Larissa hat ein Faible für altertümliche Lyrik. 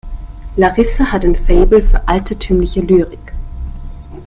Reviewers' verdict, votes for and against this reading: rejected, 1, 2